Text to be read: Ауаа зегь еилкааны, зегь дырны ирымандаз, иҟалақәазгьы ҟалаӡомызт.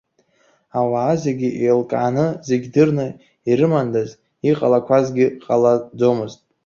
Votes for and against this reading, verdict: 1, 2, rejected